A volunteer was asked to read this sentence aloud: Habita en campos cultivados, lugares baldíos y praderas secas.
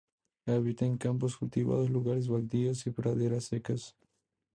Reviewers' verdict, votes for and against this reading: accepted, 4, 0